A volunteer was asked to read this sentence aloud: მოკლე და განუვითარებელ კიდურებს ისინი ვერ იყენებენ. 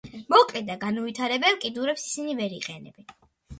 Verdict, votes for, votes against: accepted, 2, 0